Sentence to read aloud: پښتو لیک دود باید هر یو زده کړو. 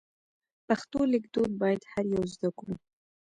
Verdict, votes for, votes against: rejected, 1, 2